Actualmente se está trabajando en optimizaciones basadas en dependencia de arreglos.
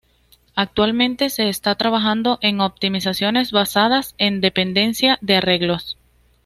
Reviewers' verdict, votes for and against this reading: accepted, 2, 0